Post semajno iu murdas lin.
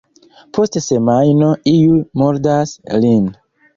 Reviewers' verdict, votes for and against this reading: rejected, 1, 2